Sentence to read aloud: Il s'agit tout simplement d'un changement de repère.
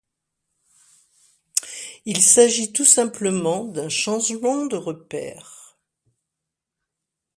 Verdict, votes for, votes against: accepted, 2, 0